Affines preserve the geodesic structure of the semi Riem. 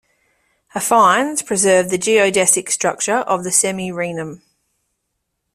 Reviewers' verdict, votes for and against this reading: accepted, 2, 1